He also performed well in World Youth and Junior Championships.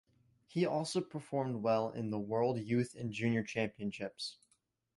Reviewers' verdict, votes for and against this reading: rejected, 1, 2